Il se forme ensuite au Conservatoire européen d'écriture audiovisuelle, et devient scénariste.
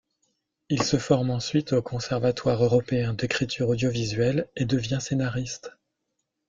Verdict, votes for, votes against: accepted, 2, 1